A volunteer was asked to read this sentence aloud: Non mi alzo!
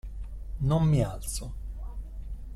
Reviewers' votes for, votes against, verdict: 2, 0, accepted